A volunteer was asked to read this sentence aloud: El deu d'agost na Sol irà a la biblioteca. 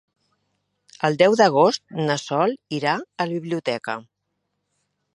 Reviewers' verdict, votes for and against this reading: accepted, 3, 0